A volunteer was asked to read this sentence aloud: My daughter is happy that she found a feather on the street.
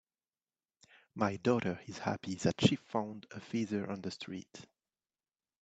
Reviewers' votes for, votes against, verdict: 4, 0, accepted